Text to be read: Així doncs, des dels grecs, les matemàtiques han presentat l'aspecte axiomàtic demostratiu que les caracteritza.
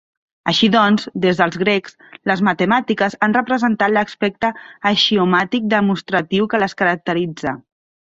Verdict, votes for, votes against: rejected, 1, 2